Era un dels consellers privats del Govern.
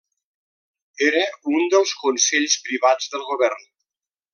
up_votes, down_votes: 0, 2